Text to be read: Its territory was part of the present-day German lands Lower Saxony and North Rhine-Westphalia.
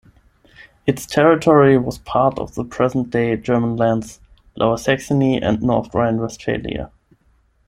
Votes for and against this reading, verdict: 10, 0, accepted